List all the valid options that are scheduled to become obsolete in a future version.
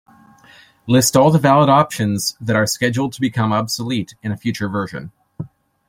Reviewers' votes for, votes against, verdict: 2, 0, accepted